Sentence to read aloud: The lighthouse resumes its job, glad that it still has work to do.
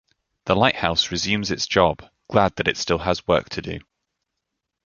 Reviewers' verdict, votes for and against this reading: accepted, 2, 0